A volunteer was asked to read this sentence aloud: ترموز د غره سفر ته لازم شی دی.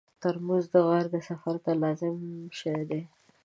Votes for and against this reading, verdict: 0, 2, rejected